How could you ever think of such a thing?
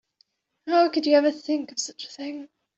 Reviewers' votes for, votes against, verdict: 2, 1, accepted